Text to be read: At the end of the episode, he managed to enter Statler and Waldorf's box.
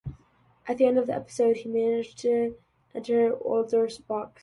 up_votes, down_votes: 0, 2